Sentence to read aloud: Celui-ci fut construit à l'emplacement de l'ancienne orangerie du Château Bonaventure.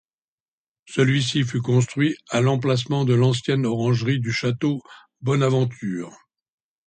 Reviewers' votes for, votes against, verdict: 2, 0, accepted